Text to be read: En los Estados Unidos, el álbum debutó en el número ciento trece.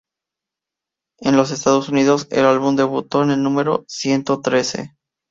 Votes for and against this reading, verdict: 2, 0, accepted